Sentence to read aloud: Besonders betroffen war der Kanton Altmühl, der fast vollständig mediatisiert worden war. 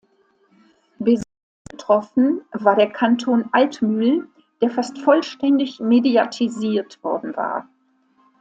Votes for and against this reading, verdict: 0, 2, rejected